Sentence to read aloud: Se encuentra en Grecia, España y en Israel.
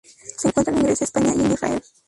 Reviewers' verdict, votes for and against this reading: rejected, 0, 2